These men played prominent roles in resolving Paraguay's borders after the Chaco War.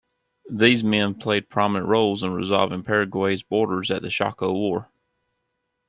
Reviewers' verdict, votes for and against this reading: rejected, 1, 2